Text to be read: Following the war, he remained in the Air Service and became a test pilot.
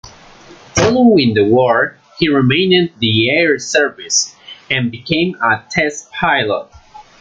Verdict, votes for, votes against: rejected, 1, 2